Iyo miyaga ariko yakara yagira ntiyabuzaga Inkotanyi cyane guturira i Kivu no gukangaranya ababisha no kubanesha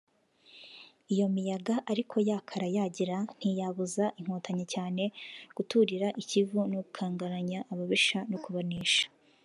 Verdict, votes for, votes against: accepted, 3, 2